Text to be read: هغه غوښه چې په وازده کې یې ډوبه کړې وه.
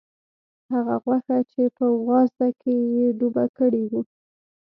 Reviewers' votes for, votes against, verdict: 0, 2, rejected